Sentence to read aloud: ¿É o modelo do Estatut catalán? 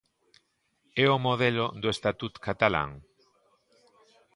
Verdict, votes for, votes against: accepted, 2, 0